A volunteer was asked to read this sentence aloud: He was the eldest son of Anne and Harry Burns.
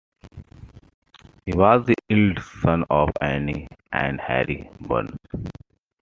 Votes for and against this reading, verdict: 2, 1, accepted